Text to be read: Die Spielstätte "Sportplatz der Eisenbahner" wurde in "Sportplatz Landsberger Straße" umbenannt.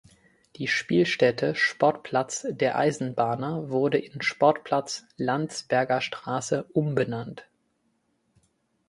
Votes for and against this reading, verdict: 2, 0, accepted